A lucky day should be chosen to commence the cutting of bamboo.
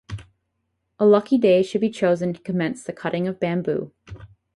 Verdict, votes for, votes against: rejected, 2, 2